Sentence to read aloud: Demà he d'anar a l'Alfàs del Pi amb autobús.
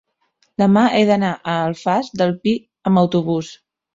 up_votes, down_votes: 1, 2